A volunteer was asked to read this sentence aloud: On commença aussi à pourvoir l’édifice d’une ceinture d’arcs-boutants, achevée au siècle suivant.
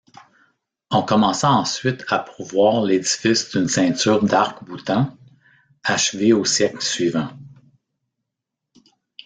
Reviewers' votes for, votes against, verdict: 1, 2, rejected